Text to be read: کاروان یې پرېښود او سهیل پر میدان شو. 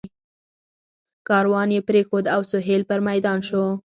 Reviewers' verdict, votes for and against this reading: accepted, 4, 0